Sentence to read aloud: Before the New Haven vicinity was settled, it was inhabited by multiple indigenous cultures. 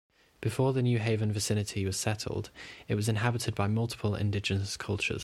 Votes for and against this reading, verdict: 2, 0, accepted